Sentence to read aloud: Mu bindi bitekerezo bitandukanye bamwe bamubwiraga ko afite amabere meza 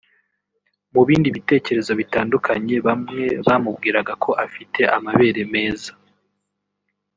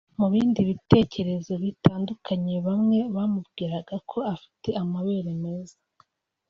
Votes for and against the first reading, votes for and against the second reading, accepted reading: 1, 2, 2, 0, second